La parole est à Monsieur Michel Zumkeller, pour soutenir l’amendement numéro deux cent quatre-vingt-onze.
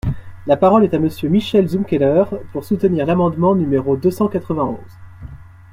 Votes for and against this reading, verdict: 2, 0, accepted